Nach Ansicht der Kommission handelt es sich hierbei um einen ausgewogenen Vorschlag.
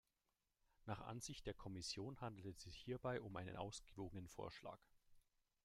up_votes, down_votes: 2, 0